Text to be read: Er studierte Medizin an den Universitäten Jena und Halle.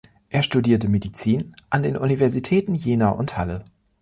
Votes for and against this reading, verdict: 2, 0, accepted